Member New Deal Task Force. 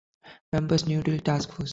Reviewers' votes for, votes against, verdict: 1, 2, rejected